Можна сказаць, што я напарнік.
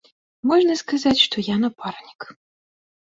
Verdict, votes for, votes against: accepted, 2, 0